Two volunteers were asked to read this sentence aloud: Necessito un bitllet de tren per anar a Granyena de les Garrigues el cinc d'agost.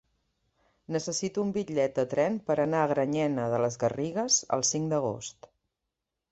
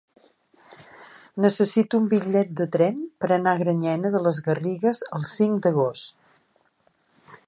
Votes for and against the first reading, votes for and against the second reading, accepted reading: 1, 2, 4, 0, second